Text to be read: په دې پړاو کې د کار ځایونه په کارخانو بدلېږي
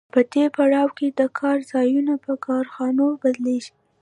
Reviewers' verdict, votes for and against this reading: accepted, 2, 1